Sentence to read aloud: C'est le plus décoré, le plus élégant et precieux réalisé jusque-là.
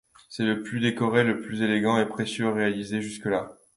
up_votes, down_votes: 2, 0